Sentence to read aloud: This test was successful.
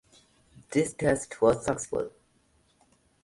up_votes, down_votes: 0, 2